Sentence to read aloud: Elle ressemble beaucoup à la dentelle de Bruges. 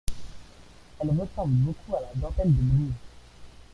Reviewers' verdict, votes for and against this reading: rejected, 1, 2